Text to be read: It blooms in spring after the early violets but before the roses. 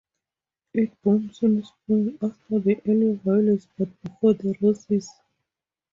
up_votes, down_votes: 0, 2